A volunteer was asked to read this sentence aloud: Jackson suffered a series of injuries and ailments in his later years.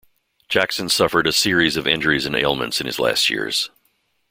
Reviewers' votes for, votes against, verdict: 0, 2, rejected